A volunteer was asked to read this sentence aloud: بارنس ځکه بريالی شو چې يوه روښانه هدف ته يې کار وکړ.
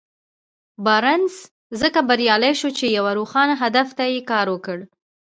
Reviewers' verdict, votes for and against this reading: rejected, 0, 2